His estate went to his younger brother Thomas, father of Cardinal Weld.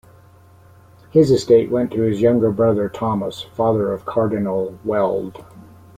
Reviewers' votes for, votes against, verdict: 0, 2, rejected